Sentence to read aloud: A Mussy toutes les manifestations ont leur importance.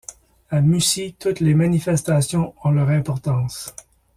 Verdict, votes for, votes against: accepted, 2, 0